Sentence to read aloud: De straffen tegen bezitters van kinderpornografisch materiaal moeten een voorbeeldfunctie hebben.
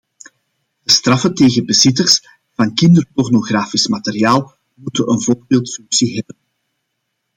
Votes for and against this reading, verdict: 1, 2, rejected